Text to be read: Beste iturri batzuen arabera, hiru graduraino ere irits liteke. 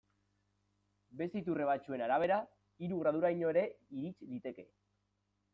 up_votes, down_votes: 2, 0